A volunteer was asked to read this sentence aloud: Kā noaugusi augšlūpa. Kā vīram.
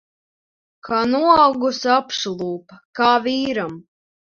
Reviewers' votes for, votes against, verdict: 0, 2, rejected